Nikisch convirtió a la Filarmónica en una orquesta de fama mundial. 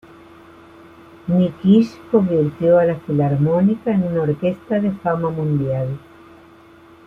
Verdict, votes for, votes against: accepted, 2, 1